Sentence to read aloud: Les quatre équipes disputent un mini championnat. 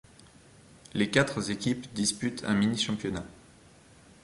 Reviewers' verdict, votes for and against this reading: rejected, 1, 2